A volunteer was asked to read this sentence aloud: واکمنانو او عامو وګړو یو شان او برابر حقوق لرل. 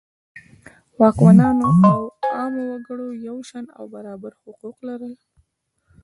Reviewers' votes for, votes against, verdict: 1, 2, rejected